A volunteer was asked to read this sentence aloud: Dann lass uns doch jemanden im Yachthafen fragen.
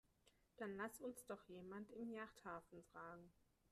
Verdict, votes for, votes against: rejected, 1, 2